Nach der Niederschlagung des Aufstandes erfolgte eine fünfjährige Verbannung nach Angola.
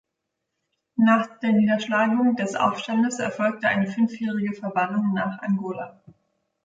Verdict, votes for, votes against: accepted, 3, 0